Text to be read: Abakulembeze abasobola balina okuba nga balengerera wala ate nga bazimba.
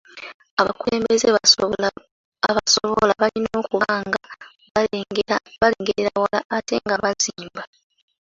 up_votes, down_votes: 0, 2